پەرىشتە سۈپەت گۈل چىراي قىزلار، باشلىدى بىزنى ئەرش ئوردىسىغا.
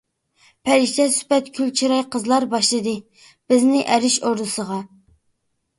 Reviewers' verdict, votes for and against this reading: accepted, 2, 0